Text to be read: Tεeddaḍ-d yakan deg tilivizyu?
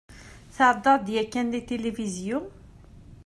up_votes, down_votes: 2, 0